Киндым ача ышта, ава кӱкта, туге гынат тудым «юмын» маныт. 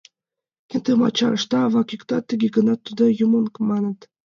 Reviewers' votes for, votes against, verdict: 1, 2, rejected